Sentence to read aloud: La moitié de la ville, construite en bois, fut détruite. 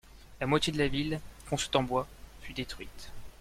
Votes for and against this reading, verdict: 2, 1, accepted